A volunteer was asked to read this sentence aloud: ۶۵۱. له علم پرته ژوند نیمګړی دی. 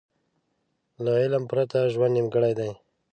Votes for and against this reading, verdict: 0, 2, rejected